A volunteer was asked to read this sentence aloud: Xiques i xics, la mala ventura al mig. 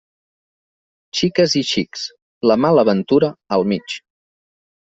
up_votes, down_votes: 3, 0